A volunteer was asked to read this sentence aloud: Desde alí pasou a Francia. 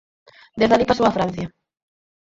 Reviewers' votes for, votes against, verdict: 4, 2, accepted